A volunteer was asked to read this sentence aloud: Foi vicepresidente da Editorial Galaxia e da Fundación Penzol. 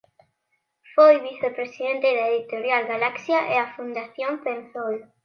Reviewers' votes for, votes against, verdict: 0, 2, rejected